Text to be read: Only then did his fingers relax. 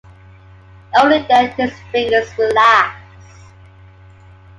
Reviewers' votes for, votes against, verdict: 2, 0, accepted